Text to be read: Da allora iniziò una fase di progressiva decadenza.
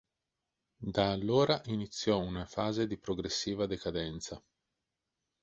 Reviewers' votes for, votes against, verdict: 2, 0, accepted